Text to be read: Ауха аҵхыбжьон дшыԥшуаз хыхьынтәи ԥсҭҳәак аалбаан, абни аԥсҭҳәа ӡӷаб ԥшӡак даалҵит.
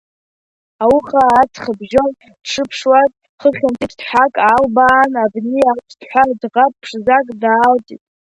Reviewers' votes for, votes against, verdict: 0, 2, rejected